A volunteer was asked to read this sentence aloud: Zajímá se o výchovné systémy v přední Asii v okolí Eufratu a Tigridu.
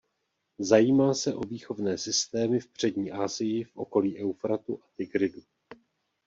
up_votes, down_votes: 2, 0